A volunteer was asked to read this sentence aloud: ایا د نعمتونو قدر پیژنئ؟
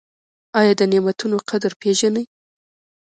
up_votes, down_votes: 2, 0